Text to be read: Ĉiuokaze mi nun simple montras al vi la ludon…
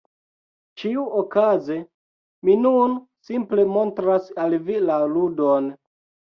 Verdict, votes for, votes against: rejected, 1, 2